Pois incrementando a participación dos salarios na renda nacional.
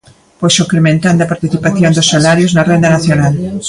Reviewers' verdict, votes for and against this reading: rejected, 0, 2